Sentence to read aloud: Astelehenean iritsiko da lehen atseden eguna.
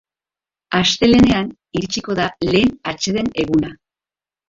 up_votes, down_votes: 1, 2